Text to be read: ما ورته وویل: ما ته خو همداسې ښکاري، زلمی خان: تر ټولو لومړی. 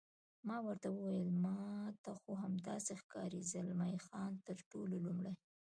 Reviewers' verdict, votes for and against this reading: accepted, 2, 0